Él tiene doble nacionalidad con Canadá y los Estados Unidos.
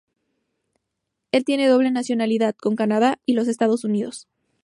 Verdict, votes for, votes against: accepted, 2, 0